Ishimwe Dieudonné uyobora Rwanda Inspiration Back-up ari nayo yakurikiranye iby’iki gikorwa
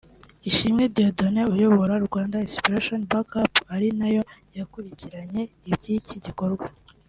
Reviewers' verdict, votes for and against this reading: accepted, 2, 0